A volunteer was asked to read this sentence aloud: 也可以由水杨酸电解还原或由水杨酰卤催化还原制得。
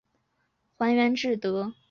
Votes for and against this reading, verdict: 1, 5, rejected